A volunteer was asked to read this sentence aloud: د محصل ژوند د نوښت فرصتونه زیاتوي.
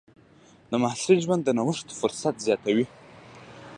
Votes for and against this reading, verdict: 2, 0, accepted